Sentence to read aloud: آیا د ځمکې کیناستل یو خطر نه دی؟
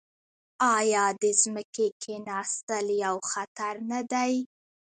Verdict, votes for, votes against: rejected, 0, 2